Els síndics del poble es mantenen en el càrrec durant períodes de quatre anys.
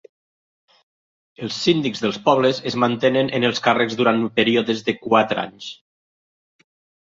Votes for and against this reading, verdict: 0, 2, rejected